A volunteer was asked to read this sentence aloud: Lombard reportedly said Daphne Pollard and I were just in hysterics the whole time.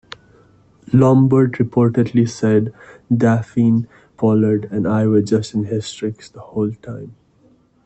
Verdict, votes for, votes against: rejected, 1, 2